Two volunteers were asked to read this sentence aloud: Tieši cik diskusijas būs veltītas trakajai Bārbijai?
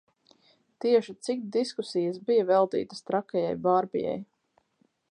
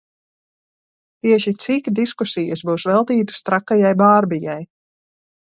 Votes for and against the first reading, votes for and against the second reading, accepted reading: 2, 4, 2, 0, second